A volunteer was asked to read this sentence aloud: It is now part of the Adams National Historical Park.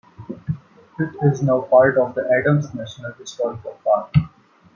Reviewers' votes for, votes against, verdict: 2, 0, accepted